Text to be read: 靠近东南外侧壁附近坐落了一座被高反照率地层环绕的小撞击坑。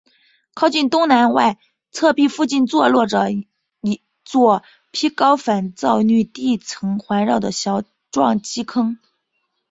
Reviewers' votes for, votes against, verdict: 4, 2, accepted